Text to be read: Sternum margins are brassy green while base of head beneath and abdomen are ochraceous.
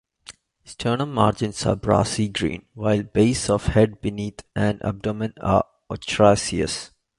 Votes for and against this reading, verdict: 2, 1, accepted